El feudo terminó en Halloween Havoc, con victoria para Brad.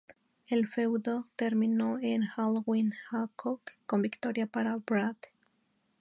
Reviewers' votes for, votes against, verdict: 2, 2, rejected